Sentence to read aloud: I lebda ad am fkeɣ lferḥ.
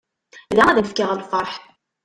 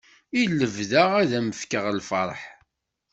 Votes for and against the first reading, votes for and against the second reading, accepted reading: 0, 2, 2, 0, second